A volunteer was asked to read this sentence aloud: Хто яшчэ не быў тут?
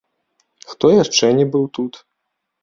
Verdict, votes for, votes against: rejected, 0, 2